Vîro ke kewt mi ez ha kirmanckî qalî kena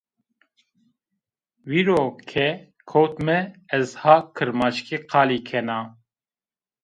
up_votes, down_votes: 2, 0